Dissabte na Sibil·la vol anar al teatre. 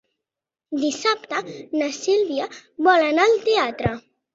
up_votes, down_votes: 0, 2